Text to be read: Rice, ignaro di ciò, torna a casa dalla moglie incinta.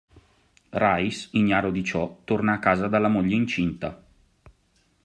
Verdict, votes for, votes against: accepted, 3, 0